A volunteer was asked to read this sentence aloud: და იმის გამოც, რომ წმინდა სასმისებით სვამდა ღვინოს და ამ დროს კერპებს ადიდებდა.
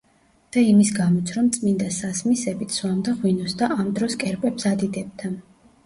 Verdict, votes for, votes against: rejected, 1, 2